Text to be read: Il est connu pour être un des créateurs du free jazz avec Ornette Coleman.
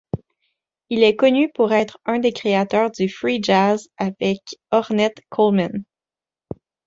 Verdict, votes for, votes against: rejected, 1, 2